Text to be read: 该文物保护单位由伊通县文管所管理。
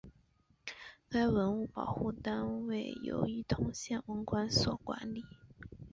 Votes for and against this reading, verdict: 3, 3, rejected